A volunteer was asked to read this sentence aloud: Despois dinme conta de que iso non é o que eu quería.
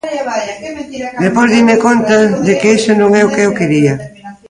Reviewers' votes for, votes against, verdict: 0, 2, rejected